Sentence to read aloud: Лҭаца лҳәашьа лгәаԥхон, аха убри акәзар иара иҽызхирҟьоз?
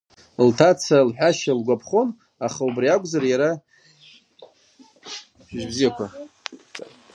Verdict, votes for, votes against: rejected, 0, 2